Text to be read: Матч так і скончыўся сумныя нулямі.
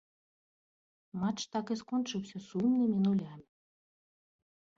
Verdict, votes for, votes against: rejected, 1, 2